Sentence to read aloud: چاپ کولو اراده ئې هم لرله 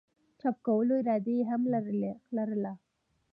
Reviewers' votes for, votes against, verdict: 1, 2, rejected